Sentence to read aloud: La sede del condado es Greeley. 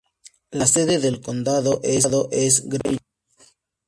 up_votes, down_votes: 0, 2